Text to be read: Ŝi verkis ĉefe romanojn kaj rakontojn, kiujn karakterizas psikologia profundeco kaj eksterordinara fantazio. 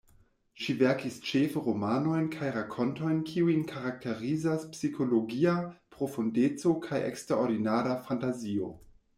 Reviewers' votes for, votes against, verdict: 2, 0, accepted